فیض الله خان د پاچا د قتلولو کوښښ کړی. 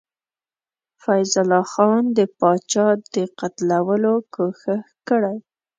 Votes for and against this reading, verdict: 2, 0, accepted